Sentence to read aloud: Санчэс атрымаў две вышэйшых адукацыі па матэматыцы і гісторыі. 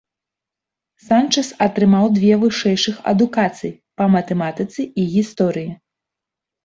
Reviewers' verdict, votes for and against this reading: accepted, 2, 0